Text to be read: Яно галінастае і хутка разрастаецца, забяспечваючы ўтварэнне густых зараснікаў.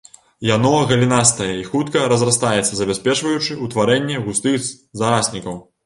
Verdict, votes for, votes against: rejected, 1, 2